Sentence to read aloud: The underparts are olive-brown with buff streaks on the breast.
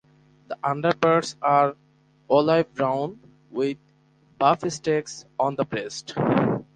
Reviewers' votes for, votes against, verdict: 0, 4, rejected